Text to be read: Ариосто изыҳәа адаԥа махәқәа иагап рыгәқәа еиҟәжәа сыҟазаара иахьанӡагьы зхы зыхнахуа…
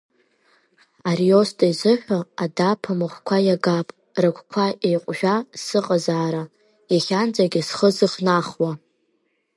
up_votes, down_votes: 2, 0